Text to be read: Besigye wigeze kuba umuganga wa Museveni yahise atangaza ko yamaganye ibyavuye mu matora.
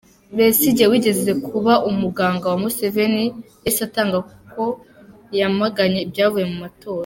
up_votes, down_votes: 1, 2